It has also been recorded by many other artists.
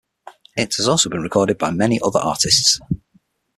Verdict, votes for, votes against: accepted, 6, 0